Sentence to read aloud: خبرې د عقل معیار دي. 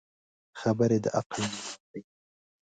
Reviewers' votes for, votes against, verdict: 1, 2, rejected